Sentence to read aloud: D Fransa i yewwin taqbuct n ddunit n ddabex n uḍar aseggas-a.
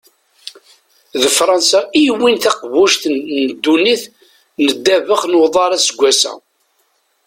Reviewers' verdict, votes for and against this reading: rejected, 1, 2